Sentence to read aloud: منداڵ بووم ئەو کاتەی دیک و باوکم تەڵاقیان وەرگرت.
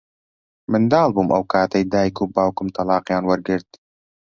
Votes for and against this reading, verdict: 2, 0, accepted